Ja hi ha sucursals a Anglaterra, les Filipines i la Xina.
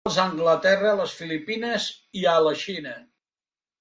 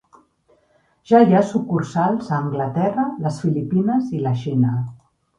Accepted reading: second